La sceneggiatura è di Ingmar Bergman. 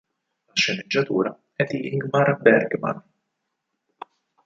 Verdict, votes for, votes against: rejected, 2, 4